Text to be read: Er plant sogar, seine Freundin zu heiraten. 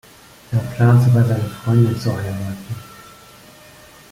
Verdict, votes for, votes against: accepted, 2, 0